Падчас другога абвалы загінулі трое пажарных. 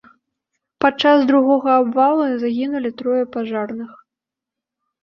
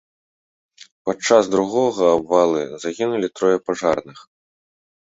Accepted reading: second